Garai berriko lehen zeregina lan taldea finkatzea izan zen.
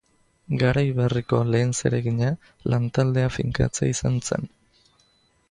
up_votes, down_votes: 2, 0